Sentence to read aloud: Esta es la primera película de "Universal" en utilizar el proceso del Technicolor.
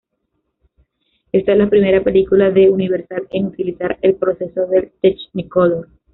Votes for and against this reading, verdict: 1, 2, rejected